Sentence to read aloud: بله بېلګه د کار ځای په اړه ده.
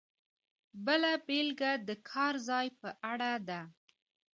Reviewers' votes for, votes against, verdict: 2, 0, accepted